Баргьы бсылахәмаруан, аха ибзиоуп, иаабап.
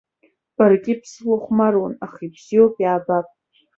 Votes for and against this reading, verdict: 2, 0, accepted